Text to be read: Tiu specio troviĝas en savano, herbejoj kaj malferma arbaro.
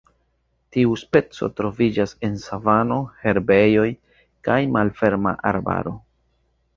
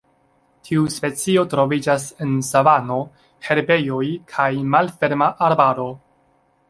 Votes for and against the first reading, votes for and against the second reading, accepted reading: 2, 3, 2, 0, second